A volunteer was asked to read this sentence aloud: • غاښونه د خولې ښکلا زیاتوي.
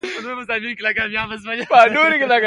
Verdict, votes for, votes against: rejected, 1, 2